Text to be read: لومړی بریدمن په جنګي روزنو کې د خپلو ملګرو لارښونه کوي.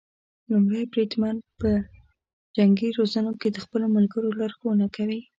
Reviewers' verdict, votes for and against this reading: accepted, 3, 0